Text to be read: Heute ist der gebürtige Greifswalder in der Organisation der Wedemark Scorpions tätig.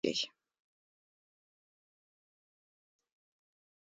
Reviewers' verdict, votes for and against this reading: rejected, 0, 2